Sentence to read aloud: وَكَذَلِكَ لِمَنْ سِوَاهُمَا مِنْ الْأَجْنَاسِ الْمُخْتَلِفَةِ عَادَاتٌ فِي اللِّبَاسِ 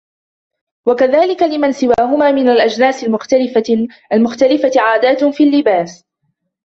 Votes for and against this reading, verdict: 1, 3, rejected